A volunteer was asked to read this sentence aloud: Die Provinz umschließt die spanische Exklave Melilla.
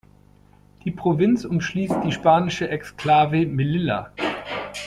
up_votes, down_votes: 1, 2